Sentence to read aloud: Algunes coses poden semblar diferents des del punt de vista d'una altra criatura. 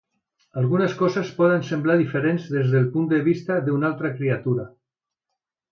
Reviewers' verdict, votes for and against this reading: accepted, 2, 0